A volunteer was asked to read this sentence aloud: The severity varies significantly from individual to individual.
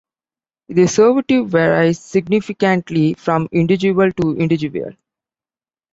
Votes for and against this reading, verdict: 0, 2, rejected